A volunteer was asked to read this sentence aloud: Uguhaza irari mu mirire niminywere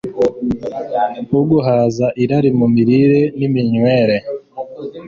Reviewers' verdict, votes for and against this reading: accepted, 2, 0